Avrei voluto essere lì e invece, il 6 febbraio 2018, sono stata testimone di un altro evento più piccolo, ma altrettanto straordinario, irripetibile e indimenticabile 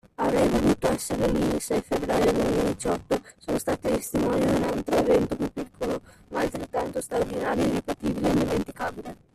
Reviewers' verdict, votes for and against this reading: rejected, 0, 2